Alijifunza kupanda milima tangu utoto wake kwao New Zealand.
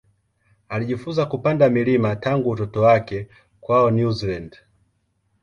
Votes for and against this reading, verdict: 1, 2, rejected